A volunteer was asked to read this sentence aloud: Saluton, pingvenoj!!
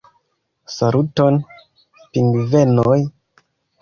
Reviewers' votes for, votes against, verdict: 2, 0, accepted